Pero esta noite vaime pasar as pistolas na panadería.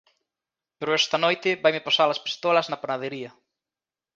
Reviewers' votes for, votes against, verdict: 2, 1, accepted